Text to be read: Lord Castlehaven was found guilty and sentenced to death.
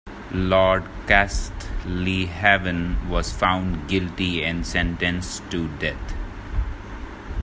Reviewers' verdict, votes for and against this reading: rejected, 0, 2